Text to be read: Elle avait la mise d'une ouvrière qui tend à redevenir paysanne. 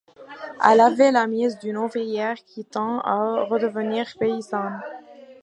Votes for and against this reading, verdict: 1, 2, rejected